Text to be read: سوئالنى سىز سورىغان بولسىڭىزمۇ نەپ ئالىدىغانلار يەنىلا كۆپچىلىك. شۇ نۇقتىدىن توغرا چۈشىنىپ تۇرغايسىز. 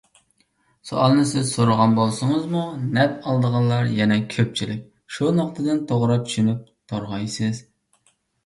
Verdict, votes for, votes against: rejected, 0, 2